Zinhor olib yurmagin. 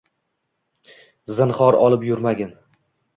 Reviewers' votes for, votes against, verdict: 1, 2, rejected